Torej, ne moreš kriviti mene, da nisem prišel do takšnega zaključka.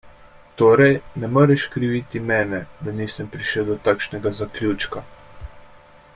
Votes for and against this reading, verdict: 2, 0, accepted